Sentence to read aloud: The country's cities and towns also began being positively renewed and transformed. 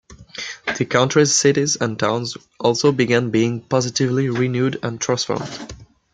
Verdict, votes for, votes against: accepted, 2, 0